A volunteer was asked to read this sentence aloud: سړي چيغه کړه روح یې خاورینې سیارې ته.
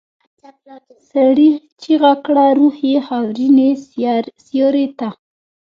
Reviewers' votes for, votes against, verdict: 1, 2, rejected